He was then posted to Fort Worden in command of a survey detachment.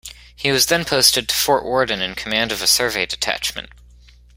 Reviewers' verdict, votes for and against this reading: accepted, 2, 0